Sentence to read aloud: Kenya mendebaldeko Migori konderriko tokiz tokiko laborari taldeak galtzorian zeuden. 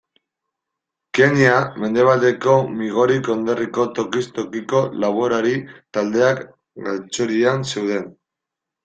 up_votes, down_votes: 2, 1